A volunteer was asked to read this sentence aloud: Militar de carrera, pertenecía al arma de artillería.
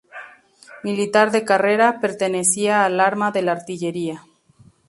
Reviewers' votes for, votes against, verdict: 2, 0, accepted